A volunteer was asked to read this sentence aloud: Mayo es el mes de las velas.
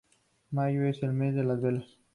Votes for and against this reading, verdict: 2, 0, accepted